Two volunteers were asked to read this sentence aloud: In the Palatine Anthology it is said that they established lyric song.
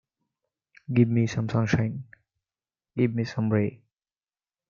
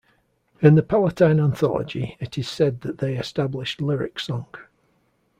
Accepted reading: second